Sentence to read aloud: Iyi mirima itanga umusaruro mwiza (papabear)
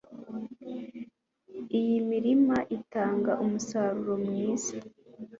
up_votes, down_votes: 1, 2